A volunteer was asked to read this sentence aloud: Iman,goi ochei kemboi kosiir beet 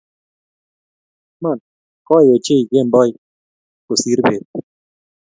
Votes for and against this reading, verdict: 0, 2, rejected